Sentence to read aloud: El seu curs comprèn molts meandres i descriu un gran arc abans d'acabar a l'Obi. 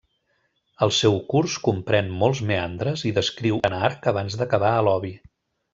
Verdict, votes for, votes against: rejected, 0, 2